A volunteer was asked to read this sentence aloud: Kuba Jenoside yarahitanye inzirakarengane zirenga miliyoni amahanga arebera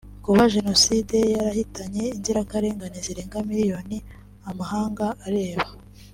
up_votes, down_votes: 2, 1